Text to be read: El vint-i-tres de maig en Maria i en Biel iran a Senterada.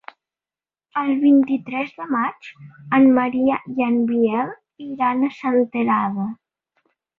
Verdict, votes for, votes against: accepted, 2, 0